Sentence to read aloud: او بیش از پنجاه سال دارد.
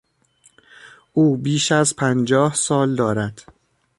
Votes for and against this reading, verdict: 2, 0, accepted